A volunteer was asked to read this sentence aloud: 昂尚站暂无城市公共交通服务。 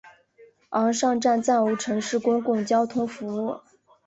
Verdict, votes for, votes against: accepted, 3, 0